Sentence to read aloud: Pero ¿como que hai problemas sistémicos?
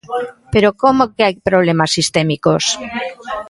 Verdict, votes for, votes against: accepted, 2, 0